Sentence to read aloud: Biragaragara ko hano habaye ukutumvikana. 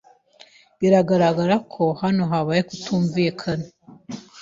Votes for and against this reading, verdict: 2, 0, accepted